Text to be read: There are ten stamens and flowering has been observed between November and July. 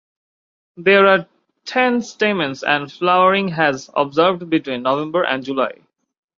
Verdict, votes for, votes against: rejected, 1, 2